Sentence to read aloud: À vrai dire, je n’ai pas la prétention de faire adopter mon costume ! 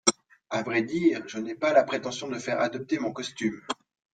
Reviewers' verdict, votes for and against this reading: accepted, 2, 0